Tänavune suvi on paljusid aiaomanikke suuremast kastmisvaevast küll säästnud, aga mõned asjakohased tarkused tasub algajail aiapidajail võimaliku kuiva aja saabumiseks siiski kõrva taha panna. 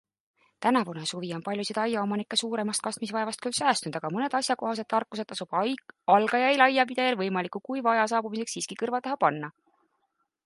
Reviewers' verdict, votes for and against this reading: rejected, 0, 2